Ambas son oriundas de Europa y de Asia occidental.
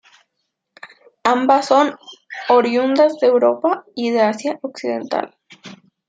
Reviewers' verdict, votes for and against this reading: accepted, 2, 0